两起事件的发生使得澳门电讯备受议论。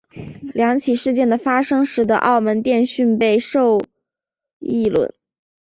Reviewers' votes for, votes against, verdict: 5, 0, accepted